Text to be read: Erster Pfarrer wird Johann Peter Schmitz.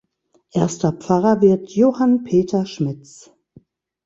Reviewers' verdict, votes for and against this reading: accepted, 2, 0